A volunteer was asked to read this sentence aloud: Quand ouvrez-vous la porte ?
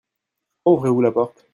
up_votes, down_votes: 1, 2